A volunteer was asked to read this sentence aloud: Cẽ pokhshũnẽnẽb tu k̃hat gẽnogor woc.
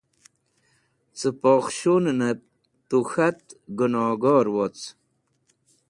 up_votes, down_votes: 2, 0